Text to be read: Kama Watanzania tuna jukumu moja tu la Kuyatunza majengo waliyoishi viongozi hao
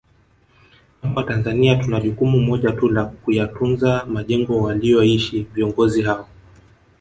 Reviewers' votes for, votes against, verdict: 1, 2, rejected